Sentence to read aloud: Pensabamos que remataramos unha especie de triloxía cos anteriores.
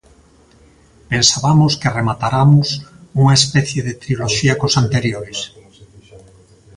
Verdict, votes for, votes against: rejected, 0, 2